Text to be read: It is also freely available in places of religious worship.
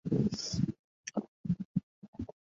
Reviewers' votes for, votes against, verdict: 0, 2, rejected